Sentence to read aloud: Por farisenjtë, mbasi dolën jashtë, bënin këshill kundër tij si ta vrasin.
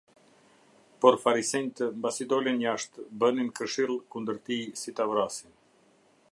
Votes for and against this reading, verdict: 2, 0, accepted